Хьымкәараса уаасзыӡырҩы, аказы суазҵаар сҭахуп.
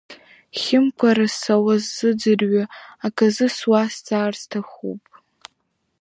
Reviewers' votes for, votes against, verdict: 2, 0, accepted